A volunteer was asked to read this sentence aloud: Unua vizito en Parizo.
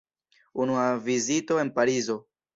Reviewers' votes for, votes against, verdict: 1, 2, rejected